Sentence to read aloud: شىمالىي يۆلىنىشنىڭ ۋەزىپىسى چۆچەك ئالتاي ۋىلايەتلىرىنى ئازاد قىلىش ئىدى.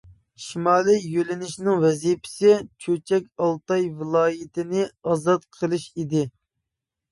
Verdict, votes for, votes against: rejected, 0, 2